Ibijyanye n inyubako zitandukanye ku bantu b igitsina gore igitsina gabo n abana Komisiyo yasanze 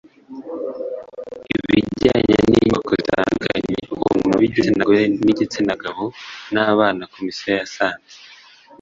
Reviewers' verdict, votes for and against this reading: accepted, 2, 0